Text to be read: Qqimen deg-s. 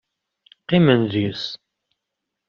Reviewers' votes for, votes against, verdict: 2, 0, accepted